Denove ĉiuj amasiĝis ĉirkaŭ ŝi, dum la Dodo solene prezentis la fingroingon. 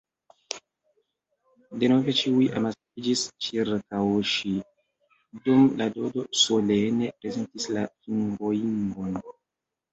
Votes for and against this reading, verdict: 1, 2, rejected